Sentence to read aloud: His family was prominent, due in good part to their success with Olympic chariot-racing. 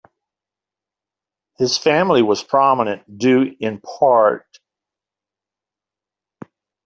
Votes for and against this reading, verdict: 0, 2, rejected